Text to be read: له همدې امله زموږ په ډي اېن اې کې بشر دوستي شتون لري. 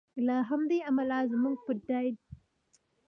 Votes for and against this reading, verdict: 0, 2, rejected